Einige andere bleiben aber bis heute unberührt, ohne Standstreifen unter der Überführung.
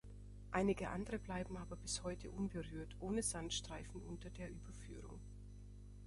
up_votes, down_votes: 0, 2